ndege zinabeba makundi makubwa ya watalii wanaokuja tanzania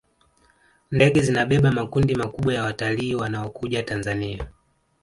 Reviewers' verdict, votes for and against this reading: accepted, 2, 1